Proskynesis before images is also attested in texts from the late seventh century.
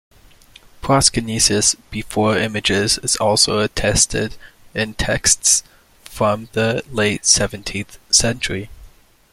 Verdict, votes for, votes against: rejected, 0, 2